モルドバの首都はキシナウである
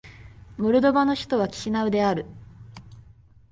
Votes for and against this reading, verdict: 5, 0, accepted